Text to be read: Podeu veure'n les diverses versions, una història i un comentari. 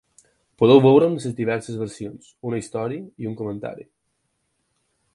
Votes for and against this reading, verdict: 2, 4, rejected